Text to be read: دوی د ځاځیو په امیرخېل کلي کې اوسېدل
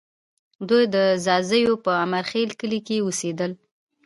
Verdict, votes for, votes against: accepted, 2, 0